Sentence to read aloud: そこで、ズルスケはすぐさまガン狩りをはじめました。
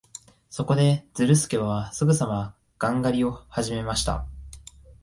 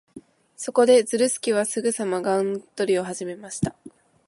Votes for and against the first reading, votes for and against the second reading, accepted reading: 2, 0, 0, 2, first